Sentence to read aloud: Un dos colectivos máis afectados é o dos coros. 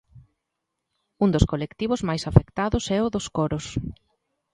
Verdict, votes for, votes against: accepted, 2, 0